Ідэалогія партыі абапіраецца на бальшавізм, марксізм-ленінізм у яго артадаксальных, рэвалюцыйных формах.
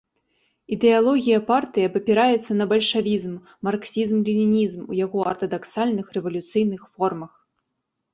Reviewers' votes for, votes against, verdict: 0, 2, rejected